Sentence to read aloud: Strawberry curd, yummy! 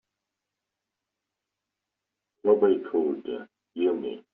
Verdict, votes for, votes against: rejected, 0, 2